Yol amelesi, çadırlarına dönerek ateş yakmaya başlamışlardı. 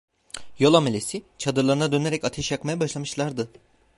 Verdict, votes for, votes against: accepted, 2, 0